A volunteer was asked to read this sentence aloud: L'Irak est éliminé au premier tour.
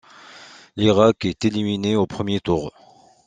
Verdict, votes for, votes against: accepted, 2, 0